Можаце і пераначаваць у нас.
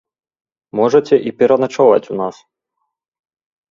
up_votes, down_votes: 2, 0